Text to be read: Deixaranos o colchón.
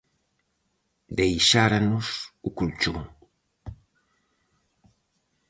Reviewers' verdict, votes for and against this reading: rejected, 0, 4